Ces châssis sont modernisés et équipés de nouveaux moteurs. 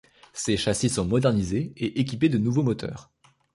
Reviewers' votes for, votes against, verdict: 2, 0, accepted